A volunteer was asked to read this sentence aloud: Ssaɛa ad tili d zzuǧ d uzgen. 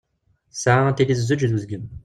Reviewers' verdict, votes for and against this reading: rejected, 1, 2